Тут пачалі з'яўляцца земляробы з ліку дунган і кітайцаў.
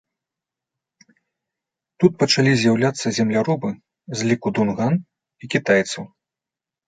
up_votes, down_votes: 2, 0